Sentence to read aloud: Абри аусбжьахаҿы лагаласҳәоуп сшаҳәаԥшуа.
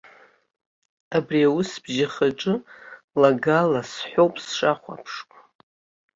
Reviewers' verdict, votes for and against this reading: accepted, 2, 0